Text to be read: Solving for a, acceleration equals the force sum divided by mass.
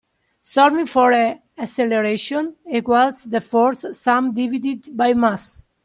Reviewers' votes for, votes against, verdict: 0, 2, rejected